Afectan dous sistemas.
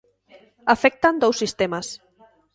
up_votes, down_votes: 2, 0